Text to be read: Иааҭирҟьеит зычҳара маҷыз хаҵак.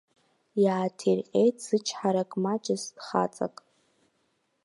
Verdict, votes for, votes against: rejected, 1, 2